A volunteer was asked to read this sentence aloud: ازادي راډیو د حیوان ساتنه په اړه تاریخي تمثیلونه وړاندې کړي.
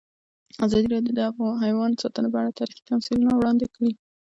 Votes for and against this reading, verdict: 2, 0, accepted